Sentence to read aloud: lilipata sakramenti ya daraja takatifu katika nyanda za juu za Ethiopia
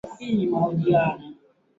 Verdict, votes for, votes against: rejected, 0, 4